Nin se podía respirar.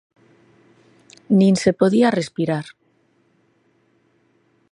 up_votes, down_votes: 3, 0